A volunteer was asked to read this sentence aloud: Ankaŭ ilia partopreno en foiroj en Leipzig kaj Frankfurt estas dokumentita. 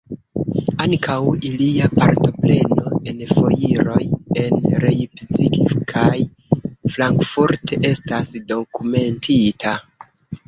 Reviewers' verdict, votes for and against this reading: rejected, 1, 2